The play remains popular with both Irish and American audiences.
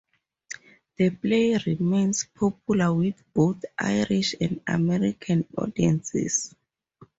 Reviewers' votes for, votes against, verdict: 2, 2, rejected